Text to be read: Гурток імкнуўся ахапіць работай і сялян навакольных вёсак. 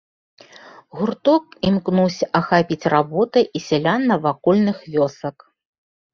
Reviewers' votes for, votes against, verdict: 2, 0, accepted